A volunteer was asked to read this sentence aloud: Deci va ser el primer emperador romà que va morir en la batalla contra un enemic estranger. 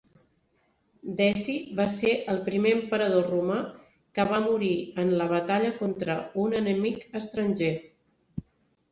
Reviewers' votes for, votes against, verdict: 0, 2, rejected